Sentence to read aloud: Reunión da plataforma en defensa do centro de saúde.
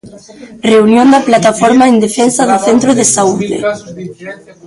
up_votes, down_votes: 0, 2